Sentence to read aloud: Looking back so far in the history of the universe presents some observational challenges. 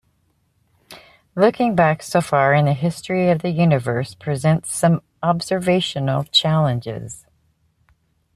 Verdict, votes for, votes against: accepted, 2, 0